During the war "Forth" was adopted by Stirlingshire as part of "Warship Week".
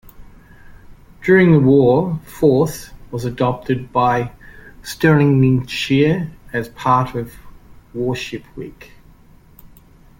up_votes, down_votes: 1, 2